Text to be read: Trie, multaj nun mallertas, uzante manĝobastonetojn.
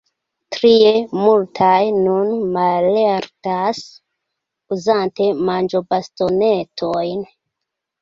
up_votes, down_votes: 2, 0